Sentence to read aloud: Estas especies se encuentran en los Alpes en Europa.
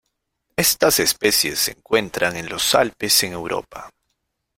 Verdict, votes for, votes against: accepted, 2, 0